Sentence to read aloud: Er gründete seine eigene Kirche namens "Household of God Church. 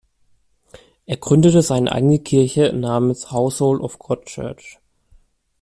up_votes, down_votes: 2, 0